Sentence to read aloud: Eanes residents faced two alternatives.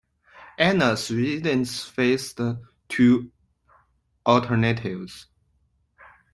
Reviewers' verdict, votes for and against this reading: rejected, 1, 2